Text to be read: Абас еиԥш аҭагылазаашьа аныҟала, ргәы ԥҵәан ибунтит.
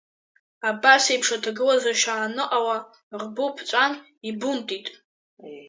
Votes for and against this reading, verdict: 1, 2, rejected